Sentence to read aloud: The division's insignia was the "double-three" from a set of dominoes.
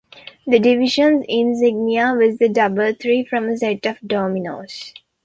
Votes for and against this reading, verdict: 1, 2, rejected